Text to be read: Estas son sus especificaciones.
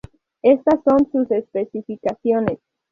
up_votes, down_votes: 0, 2